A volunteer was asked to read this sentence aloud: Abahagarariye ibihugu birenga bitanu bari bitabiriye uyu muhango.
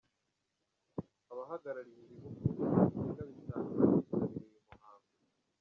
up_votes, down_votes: 0, 3